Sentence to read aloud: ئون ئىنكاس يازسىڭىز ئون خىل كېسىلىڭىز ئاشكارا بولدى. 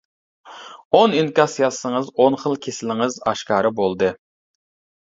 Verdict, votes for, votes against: accepted, 2, 0